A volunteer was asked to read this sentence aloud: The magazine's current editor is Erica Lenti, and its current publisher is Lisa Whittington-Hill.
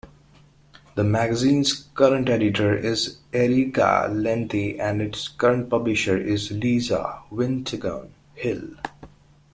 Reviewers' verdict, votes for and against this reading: rejected, 0, 2